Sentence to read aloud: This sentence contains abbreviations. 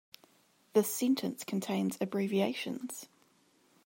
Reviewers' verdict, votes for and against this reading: rejected, 1, 2